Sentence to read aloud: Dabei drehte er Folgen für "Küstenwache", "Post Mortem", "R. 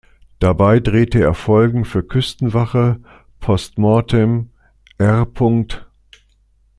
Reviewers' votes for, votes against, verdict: 2, 0, accepted